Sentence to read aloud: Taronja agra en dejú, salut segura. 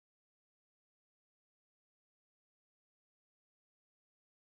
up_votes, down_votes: 0, 2